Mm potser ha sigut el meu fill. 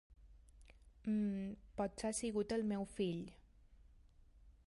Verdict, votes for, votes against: rejected, 1, 2